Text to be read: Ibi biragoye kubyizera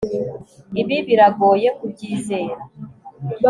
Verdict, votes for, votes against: accepted, 4, 0